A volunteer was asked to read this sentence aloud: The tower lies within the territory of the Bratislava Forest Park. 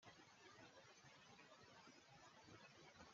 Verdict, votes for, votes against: rejected, 1, 2